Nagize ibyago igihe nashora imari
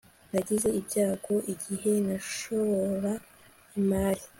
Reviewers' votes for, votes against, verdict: 3, 0, accepted